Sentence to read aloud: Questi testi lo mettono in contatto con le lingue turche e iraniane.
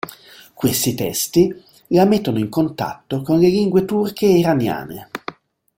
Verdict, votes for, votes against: rejected, 2, 3